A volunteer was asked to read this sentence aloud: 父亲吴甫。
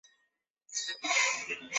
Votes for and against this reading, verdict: 3, 6, rejected